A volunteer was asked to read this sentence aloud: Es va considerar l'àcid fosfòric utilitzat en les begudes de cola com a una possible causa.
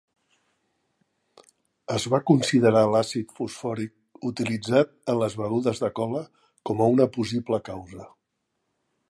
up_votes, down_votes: 2, 0